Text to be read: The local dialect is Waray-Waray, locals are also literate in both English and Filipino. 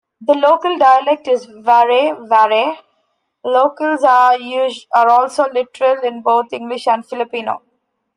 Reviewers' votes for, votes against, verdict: 0, 3, rejected